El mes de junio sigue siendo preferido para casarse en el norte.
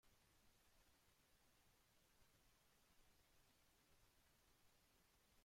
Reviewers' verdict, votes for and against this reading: rejected, 0, 2